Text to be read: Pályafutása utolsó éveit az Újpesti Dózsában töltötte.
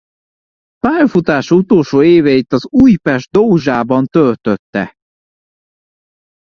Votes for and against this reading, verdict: 0, 2, rejected